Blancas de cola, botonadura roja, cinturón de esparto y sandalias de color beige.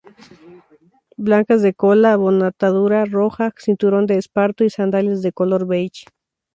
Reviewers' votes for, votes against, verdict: 2, 0, accepted